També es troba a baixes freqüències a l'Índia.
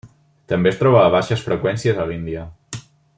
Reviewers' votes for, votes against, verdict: 0, 2, rejected